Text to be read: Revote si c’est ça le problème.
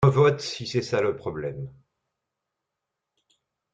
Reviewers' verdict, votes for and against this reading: rejected, 0, 2